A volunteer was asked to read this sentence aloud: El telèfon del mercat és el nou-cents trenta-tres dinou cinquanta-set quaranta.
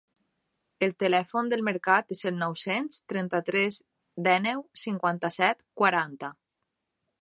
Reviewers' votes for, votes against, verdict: 1, 2, rejected